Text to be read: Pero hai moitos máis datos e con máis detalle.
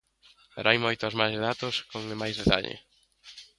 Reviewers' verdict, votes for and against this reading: rejected, 1, 2